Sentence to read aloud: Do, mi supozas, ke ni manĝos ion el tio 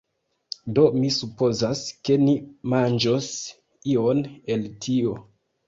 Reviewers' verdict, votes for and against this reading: accepted, 2, 0